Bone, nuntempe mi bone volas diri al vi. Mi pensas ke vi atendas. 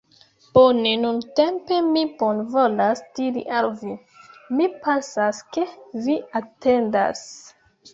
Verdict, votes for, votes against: rejected, 1, 2